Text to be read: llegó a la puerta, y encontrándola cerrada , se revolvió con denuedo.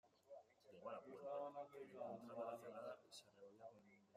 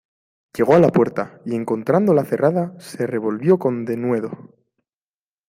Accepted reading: second